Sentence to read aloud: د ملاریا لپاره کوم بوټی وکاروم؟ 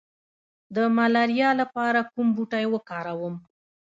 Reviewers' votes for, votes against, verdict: 0, 2, rejected